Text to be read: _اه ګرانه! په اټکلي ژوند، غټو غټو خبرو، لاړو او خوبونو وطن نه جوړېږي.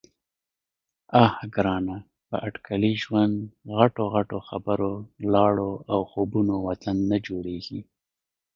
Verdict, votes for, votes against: accepted, 2, 1